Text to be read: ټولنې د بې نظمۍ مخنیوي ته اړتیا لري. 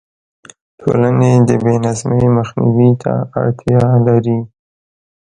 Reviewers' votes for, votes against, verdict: 2, 1, accepted